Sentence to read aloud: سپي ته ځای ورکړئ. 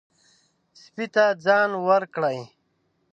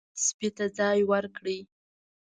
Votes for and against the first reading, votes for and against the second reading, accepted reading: 0, 2, 2, 0, second